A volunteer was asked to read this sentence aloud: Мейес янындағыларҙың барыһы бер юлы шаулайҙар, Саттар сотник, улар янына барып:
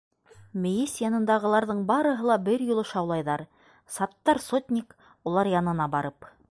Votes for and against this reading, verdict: 0, 2, rejected